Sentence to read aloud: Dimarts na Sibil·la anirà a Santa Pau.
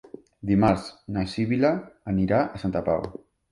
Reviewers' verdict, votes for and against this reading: accepted, 4, 1